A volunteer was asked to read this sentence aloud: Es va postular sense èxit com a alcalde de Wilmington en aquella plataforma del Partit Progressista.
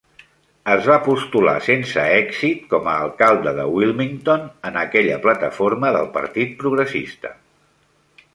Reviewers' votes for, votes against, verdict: 3, 0, accepted